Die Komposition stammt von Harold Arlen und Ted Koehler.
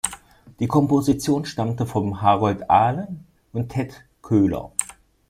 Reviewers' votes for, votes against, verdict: 0, 2, rejected